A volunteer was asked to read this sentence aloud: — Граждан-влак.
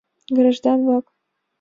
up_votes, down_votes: 2, 0